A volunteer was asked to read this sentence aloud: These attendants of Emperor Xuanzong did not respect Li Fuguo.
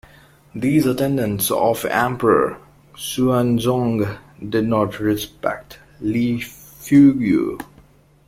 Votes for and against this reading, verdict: 1, 2, rejected